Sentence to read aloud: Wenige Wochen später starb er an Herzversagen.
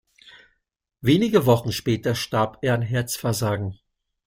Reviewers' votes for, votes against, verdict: 3, 0, accepted